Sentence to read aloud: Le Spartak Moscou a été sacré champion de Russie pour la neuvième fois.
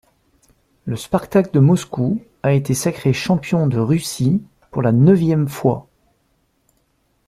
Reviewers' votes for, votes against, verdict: 0, 2, rejected